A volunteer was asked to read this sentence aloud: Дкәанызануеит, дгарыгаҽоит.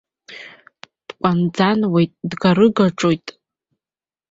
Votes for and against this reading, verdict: 0, 2, rejected